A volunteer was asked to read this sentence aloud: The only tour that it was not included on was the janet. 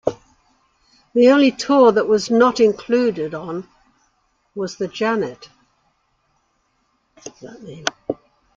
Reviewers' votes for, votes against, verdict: 0, 2, rejected